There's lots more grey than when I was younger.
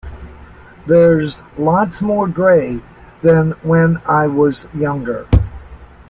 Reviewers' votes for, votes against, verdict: 2, 0, accepted